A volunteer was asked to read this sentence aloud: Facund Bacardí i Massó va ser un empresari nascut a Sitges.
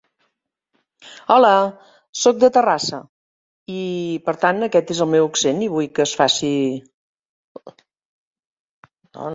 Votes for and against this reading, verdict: 0, 2, rejected